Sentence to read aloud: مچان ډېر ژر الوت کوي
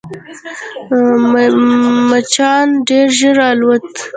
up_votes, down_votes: 1, 2